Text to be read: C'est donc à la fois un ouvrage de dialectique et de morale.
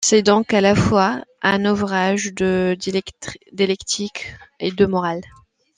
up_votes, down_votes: 1, 2